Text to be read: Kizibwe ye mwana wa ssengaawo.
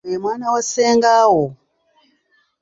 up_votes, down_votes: 1, 2